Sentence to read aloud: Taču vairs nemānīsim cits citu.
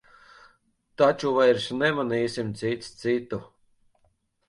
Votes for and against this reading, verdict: 1, 2, rejected